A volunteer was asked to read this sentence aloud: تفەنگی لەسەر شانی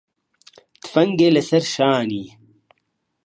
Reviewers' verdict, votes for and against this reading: rejected, 1, 2